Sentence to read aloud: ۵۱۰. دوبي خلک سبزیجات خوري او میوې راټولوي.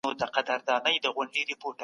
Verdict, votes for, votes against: rejected, 0, 2